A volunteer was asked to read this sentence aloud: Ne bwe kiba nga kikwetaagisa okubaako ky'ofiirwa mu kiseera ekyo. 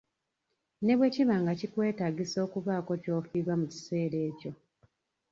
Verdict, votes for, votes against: accepted, 2, 1